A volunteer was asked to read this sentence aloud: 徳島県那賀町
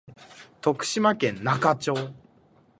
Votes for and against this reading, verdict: 2, 0, accepted